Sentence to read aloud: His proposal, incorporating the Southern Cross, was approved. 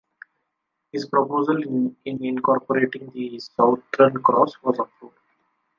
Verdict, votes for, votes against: rejected, 0, 2